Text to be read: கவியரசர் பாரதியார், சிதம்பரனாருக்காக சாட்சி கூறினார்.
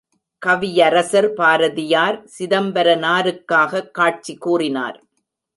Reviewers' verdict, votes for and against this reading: rejected, 1, 2